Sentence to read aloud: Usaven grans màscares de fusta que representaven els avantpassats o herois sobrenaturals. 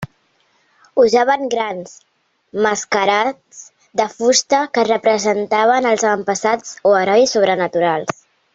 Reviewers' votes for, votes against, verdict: 0, 2, rejected